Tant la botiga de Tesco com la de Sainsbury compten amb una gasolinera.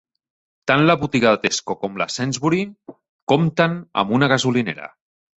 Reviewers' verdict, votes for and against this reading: accepted, 2, 1